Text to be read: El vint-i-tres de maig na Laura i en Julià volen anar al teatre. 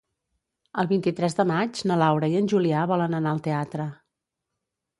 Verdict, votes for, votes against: accepted, 2, 0